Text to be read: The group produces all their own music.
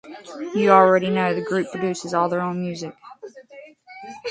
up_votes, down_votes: 0, 2